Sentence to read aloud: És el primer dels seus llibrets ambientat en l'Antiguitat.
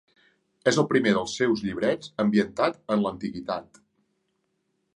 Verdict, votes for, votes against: accepted, 3, 0